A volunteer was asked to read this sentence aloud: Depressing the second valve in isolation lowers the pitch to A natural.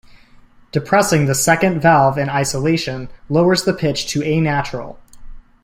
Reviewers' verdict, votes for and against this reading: accepted, 2, 0